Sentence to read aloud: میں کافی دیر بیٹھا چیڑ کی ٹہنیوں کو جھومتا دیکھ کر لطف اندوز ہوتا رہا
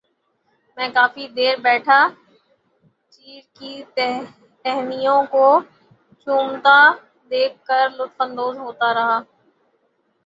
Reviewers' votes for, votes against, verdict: 0, 3, rejected